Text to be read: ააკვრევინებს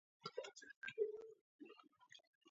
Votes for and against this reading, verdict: 1, 2, rejected